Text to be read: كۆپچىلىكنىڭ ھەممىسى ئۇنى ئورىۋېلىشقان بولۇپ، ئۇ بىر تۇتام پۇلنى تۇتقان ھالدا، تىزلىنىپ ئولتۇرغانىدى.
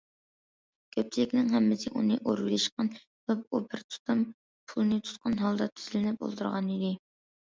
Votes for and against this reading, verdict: 1, 2, rejected